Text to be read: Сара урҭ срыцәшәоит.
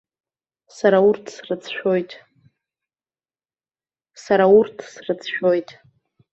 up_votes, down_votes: 2, 0